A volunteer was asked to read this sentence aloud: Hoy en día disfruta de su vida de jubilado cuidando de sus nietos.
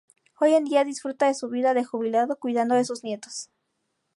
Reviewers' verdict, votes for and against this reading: accepted, 6, 0